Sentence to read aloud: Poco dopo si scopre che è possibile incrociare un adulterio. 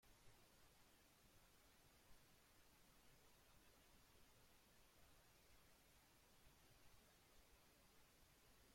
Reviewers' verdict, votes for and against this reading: rejected, 0, 2